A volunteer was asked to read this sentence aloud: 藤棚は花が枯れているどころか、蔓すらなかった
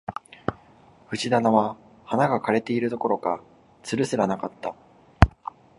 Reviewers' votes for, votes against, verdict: 3, 0, accepted